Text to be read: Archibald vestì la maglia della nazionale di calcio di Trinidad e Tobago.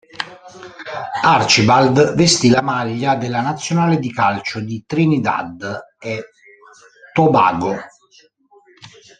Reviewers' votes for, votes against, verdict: 1, 2, rejected